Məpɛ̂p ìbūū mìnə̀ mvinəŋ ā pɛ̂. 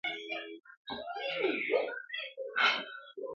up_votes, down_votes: 0, 2